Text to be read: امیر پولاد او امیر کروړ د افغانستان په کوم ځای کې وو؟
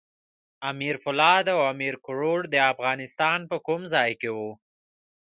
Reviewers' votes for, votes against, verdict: 2, 1, accepted